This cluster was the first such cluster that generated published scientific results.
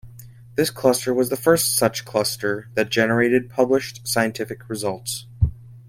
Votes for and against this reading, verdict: 2, 0, accepted